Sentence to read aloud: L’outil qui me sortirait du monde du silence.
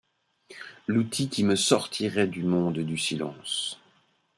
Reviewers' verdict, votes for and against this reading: accepted, 2, 0